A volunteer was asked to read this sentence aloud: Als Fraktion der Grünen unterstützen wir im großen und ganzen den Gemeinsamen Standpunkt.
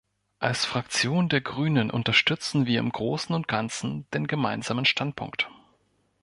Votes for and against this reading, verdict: 2, 0, accepted